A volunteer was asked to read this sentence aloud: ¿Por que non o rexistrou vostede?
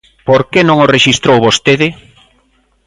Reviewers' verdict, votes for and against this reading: accepted, 3, 0